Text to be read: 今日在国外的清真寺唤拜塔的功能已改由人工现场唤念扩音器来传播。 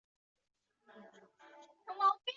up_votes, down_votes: 1, 4